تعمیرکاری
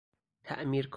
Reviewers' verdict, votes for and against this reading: rejected, 0, 4